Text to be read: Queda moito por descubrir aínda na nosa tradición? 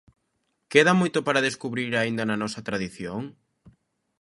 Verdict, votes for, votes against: rejected, 0, 2